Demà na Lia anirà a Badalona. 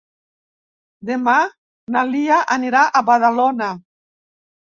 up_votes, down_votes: 3, 0